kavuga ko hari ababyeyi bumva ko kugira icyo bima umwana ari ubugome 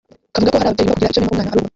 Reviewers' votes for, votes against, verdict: 0, 2, rejected